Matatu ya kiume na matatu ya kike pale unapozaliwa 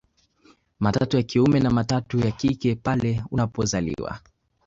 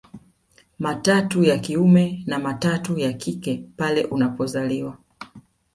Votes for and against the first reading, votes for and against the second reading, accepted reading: 0, 2, 2, 1, second